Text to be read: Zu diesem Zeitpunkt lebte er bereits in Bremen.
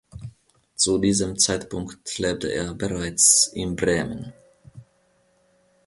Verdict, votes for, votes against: accepted, 2, 0